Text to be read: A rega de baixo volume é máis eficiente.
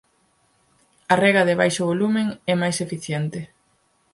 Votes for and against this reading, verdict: 2, 4, rejected